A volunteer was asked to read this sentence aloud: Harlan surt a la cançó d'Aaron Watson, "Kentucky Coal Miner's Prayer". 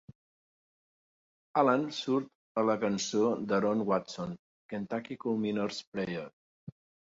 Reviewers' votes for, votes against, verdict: 2, 1, accepted